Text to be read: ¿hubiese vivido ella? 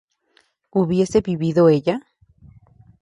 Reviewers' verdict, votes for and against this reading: accepted, 4, 0